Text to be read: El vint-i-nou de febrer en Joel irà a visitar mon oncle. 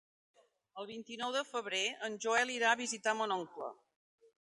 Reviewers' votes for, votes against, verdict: 3, 0, accepted